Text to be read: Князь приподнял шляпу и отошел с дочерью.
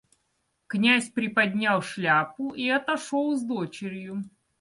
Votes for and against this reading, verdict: 2, 0, accepted